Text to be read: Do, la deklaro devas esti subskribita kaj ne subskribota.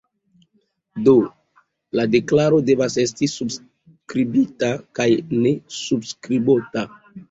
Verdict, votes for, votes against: accepted, 2, 0